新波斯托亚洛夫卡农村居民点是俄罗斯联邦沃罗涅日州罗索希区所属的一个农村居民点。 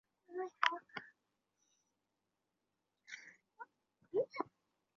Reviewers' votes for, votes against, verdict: 0, 5, rejected